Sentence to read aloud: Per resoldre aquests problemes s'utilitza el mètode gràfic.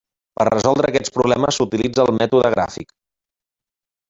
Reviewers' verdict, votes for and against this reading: rejected, 0, 2